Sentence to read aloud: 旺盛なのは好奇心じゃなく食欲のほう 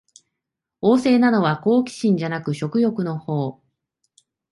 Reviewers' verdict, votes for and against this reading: accepted, 2, 0